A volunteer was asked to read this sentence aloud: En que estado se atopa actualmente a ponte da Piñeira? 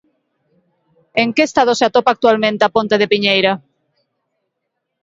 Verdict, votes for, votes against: rejected, 1, 2